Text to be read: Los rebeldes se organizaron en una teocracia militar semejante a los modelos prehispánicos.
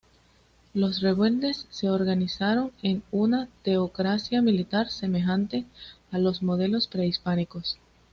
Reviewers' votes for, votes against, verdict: 2, 0, accepted